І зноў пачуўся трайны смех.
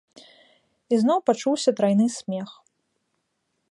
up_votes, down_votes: 2, 0